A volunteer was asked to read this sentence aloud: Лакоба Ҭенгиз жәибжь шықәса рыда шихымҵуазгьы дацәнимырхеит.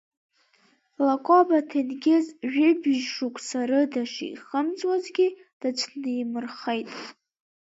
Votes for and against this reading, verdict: 2, 0, accepted